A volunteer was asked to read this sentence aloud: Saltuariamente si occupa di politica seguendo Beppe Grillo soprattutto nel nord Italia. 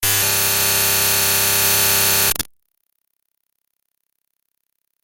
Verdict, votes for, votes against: rejected, 0, 2